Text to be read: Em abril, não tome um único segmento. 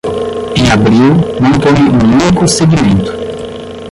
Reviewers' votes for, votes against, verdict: 0, 10, rejected